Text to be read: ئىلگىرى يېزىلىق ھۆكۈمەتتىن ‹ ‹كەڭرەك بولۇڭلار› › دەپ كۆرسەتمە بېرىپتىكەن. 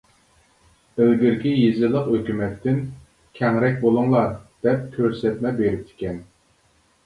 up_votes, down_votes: 0, 2